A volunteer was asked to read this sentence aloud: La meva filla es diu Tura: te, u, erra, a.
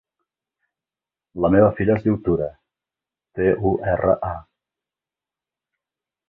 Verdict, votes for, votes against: accepted, 3, 0